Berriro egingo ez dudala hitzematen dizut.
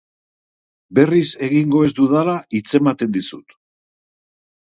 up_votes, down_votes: 2, 2